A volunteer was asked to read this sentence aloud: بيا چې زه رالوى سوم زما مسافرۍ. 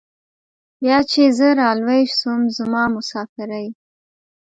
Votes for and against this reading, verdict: 2, 0, accepted